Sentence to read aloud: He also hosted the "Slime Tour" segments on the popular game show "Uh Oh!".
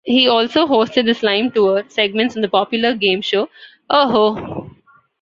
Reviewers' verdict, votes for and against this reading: rejected, 1, 2